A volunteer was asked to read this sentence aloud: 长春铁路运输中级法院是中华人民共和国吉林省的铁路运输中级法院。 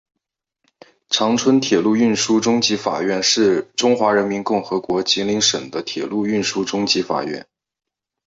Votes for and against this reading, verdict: 4, 1, accepted